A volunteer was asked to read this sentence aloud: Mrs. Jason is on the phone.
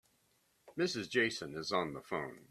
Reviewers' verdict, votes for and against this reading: accepted, 2, 0